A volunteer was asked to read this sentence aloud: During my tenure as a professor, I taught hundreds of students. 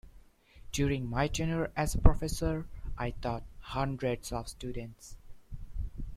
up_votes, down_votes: 2, 0